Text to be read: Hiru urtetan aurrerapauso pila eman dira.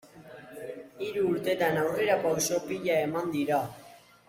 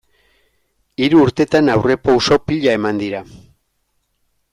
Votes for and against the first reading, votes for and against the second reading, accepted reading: 1, 2, 2, 1, second